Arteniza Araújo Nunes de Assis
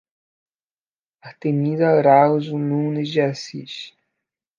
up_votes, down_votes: 0, 2